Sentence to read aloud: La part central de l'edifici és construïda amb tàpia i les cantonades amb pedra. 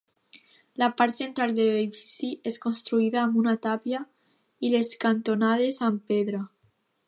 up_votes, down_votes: 0, 2